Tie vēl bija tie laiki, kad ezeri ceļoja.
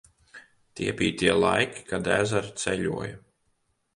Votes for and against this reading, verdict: 0, 2, rejected